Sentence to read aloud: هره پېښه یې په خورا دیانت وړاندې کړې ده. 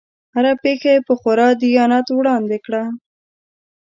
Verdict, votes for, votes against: rejected, 1, 2